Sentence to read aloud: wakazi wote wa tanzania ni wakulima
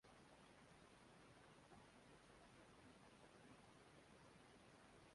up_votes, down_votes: 0, 2